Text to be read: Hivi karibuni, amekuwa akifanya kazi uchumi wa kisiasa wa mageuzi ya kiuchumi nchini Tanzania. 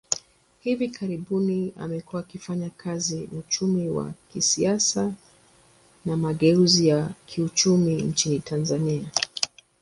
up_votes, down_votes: 2, 1